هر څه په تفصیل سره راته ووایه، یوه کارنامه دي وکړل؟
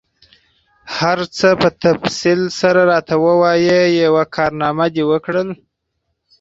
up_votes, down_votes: 2, 4